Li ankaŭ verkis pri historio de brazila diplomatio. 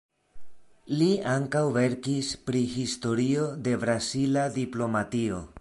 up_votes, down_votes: 2, 0